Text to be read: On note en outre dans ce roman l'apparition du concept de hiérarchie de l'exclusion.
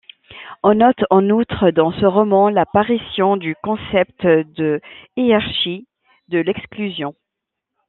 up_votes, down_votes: 0, 2